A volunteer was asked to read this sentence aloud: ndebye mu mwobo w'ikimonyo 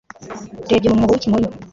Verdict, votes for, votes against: accepted, 3, 2